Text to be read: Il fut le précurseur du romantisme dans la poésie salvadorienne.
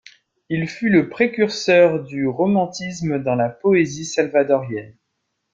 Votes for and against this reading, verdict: 2, 0, accepted